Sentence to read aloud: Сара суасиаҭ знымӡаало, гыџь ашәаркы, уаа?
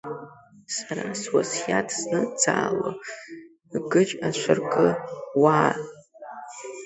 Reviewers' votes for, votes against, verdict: 0, 2, rejected